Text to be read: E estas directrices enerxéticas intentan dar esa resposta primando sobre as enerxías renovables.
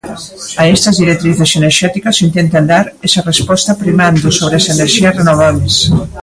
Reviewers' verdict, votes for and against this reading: rejected, 0, 2